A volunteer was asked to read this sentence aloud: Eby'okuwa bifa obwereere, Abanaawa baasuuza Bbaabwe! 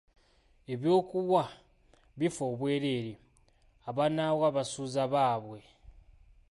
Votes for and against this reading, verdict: 2, 0, accepted